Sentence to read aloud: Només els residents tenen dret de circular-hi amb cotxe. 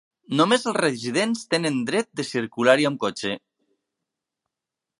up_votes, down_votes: 3, 0